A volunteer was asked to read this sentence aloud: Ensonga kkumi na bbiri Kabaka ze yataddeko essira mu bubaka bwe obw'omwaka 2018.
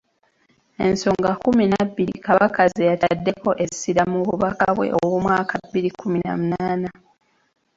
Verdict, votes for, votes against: rejected, 0, 2